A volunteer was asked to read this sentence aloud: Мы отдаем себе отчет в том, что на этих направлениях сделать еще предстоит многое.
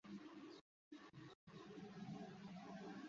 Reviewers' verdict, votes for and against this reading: rejected, 0, 2